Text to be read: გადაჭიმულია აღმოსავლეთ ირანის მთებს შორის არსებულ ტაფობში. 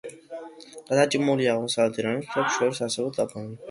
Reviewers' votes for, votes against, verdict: 2, 1, accepted